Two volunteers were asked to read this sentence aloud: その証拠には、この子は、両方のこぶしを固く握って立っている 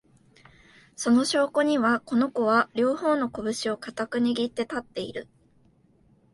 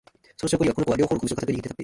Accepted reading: first